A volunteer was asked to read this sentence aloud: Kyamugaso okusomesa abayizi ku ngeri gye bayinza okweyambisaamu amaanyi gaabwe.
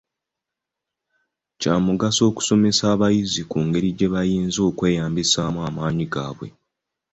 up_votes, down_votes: 2, 0